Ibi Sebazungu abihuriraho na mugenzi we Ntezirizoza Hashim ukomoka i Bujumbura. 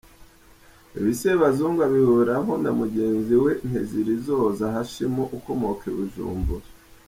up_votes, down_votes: 2, 0